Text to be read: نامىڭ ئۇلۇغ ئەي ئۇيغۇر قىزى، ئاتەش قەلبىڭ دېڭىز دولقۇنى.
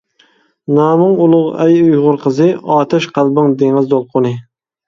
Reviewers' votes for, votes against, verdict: 2, 0, accepted